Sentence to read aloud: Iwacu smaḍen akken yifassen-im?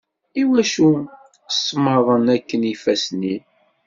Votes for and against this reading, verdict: 2, 0, accepted